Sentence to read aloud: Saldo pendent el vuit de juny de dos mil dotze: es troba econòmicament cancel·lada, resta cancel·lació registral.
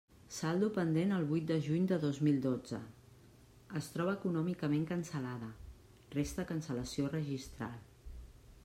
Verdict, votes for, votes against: accepted, 2, 1